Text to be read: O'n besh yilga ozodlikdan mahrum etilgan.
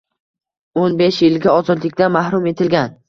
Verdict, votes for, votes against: accepted, 2, 0